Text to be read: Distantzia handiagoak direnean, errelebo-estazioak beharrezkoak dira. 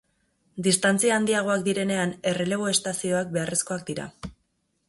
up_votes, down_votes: 2, 0